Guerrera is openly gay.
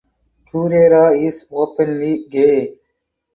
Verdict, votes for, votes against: accepted, 4, 0